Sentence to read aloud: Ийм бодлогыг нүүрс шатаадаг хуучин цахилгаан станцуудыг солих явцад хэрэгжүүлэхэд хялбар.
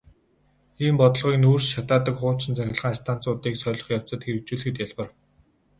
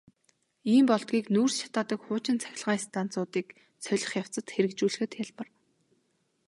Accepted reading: second